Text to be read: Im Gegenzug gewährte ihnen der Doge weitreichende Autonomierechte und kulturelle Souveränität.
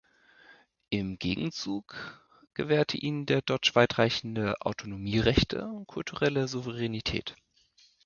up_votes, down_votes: 0, 2